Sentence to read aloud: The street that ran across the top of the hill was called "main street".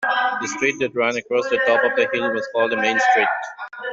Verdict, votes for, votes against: rejected, 1, 2